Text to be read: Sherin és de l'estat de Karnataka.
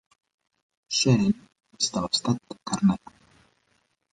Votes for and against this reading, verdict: 1, 2, rejected